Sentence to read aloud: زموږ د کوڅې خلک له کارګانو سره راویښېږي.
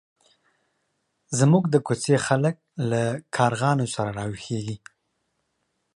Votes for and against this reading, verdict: 1, 2, rejected